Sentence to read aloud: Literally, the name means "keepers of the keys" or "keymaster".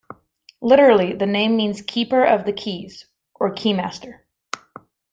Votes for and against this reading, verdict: 1, 2, rejected